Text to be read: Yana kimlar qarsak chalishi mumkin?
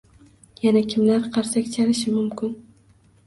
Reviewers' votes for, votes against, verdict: 2, 0, accepted